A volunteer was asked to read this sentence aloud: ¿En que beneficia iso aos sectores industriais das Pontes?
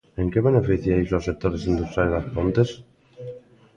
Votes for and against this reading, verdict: 2, 0, accepted